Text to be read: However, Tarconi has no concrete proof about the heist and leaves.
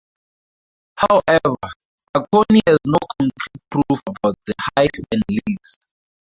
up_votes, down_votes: 0, 2